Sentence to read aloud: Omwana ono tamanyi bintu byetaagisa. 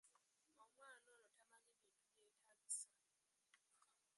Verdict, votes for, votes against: rejected, 0, 2